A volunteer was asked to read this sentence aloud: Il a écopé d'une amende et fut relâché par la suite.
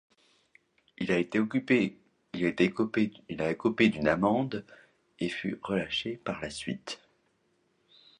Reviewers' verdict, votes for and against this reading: rejected, 0, 2